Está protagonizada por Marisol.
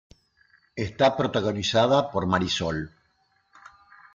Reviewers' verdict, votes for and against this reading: rejected, 1, 2